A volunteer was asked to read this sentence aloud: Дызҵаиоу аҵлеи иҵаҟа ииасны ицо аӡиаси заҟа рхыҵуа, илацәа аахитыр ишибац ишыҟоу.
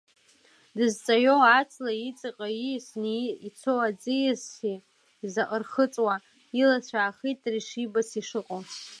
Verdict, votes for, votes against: rejected, 0, 2